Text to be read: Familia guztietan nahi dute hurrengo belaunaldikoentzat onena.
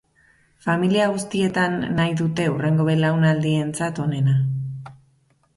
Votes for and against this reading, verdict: 1, 2, rejected